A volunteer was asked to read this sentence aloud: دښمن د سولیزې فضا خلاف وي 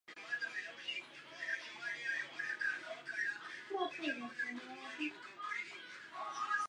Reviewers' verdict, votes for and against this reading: rejected, 0, 2